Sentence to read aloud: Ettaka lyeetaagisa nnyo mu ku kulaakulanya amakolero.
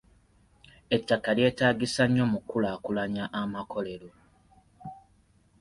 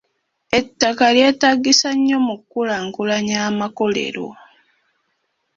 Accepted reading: first